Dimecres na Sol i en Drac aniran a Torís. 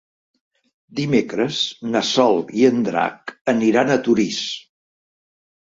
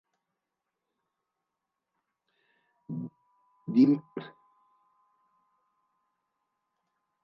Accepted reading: first